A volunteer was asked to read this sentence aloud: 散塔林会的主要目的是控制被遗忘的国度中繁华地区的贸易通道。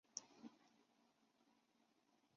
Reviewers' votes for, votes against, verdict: 0, 2, rejected